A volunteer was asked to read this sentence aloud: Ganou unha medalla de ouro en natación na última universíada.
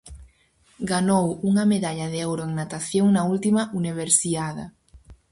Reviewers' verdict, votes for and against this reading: rejected, 0, 4